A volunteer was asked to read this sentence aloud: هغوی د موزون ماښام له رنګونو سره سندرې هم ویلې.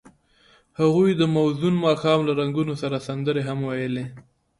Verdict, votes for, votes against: accepted, 2, 0